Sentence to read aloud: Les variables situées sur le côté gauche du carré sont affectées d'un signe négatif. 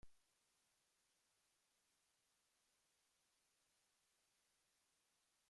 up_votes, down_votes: 0, 2